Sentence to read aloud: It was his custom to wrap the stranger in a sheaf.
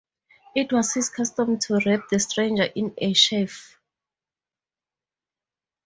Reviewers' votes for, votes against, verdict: 4, 0, accepted